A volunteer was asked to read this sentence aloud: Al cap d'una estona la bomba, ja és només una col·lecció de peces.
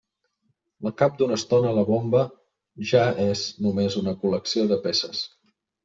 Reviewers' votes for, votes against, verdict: 1, 2, rejected